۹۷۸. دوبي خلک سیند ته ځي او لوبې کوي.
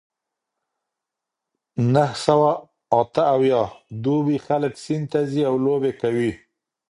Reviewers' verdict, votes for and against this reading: rejected, 0, 2